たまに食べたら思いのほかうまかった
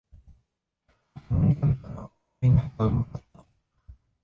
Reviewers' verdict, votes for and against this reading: rejected, 0, 3